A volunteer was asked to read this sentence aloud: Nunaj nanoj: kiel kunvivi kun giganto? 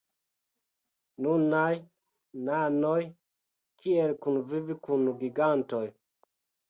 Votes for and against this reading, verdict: 3, 0, accepted